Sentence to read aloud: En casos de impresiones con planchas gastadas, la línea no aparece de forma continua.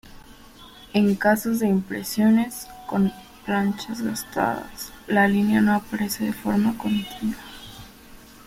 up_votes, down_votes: 2, 0